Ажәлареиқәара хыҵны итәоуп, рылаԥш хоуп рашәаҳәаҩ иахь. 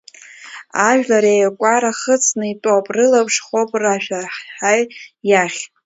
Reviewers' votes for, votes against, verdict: 0, 2, rejected